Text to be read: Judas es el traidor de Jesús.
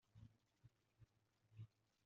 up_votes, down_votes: 0, 2